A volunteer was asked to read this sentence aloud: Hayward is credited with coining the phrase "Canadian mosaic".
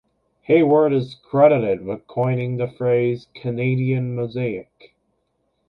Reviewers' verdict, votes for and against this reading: rejected, 1, 2